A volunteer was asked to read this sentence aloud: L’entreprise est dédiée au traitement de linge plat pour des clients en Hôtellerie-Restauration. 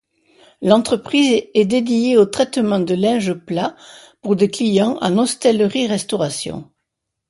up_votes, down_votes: 1, 2